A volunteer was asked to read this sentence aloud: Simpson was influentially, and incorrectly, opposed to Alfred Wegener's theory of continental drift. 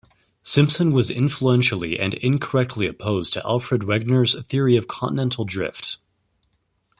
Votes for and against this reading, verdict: 2, 0, accepted